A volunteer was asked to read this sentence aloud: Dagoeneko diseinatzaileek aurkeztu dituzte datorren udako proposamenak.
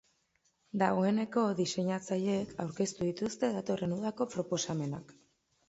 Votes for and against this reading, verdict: 2, 0, accepted